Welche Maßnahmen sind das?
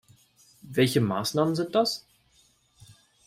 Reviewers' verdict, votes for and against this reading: accepted, 2, 0